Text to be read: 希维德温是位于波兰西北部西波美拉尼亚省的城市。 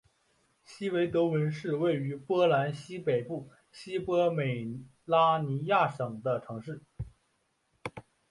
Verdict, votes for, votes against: rejected, 0, 2